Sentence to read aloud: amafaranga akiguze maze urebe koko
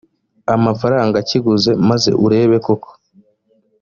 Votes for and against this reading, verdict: 2, 1, accepted